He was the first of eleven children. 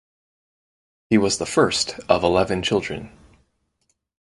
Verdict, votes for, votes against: accepted, 4, 0